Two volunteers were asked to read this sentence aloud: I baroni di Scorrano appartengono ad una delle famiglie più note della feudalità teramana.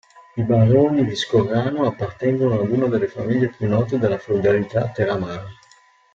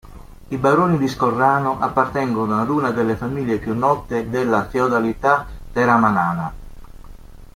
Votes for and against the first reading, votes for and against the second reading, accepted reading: 2, 0, 1, 4, first